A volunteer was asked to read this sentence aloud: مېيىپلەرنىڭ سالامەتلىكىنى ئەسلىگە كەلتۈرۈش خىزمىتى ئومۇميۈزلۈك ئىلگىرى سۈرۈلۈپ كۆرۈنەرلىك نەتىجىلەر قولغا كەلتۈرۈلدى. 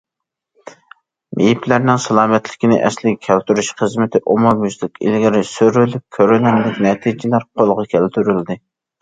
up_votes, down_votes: 2, 0